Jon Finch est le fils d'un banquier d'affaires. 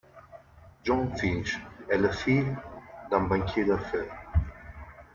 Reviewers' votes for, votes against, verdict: 2, 1, accepted